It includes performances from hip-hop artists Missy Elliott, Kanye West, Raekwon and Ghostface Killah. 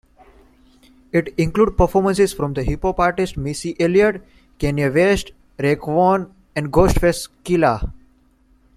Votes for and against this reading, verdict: 0, 2, rejected